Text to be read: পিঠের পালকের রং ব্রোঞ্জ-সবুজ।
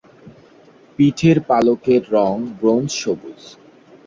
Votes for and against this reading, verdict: 2, 0, accepted